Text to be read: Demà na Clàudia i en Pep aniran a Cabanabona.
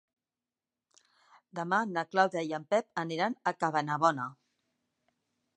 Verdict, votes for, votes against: accepted, 4, 0